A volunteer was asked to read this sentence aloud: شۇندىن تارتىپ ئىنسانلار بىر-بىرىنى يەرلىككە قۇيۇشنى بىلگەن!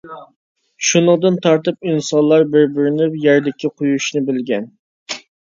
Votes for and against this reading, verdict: 1, 2, rejected